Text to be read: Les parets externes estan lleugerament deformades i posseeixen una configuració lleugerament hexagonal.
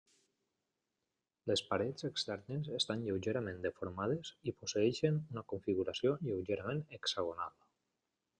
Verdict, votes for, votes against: rejected, 0, 2